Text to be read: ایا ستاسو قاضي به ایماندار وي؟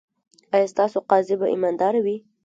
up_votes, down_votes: 2, 1